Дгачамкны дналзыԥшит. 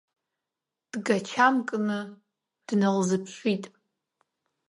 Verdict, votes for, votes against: accepted, 2, 0